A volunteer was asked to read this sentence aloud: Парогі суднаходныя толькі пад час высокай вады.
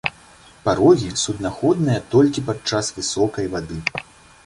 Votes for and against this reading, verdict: 2, 0, accepted